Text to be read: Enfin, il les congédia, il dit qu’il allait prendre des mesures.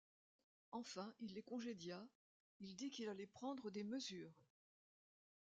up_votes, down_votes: 1, 2